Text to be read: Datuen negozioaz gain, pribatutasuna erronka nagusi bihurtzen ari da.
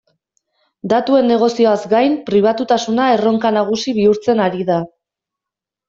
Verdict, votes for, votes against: accepted, 2, 0